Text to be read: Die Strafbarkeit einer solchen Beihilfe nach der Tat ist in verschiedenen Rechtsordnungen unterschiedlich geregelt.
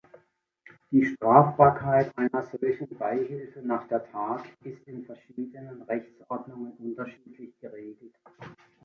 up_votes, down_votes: 1, 2